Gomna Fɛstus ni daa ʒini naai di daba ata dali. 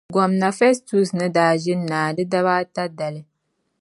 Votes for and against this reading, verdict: 2, 0, accepted